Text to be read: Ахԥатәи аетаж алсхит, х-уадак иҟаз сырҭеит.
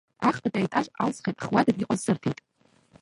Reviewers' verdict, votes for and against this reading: rejected, 0, 2